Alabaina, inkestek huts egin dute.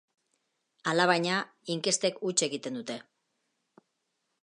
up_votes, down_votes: 1, 2